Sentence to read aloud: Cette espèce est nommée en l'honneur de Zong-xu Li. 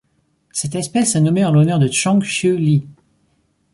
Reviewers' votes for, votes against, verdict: 4, 2, accepted